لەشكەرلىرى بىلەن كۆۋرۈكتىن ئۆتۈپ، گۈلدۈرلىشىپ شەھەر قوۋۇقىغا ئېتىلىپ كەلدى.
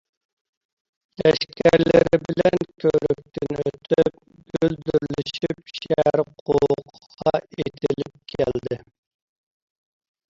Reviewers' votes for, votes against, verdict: 1, 2, rejected